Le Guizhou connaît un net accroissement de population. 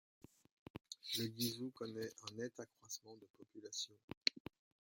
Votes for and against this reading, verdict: 1, 2, rejected